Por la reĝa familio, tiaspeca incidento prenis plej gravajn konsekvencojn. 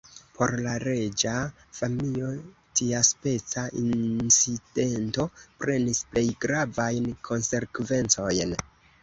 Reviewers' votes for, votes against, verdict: 2, 1, accepted